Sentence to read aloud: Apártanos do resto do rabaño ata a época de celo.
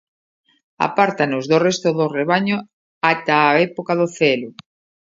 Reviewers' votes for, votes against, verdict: 0, 2, rejected